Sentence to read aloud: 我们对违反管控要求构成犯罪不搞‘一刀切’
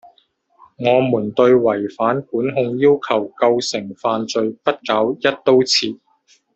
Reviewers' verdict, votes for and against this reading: rejected, 0, 2